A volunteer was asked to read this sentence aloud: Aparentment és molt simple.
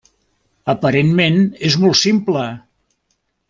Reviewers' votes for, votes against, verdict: 0, 2, rejected